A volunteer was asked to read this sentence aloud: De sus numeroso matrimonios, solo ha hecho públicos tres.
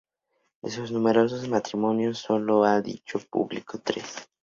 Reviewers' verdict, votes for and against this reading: rejected, 0, 4